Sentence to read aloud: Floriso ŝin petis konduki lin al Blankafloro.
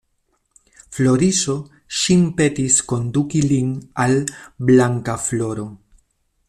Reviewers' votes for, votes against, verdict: 2, 0, accepted